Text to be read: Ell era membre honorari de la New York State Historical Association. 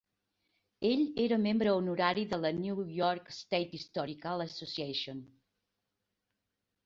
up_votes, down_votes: 4, 0